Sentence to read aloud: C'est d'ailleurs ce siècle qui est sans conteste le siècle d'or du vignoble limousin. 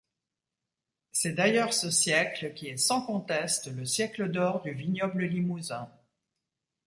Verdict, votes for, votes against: accepted, 2, 0